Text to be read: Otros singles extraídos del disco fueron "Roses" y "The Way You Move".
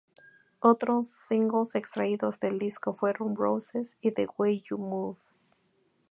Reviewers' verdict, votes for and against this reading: accepted, 2, 0